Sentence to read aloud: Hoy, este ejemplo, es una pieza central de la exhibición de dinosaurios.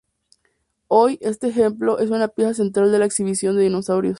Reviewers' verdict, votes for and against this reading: accepted, 2, 0